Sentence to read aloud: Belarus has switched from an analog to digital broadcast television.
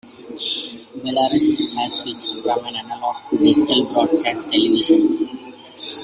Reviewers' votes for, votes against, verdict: 0, 2, rejected